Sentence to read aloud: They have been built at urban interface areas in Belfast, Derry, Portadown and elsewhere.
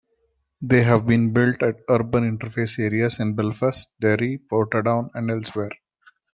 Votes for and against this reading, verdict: 2, 0, accepted